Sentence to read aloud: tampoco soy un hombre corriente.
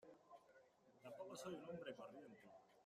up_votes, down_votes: 0, 2